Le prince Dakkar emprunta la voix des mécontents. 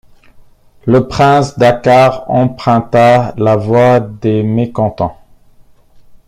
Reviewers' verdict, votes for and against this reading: accepted, 2, 1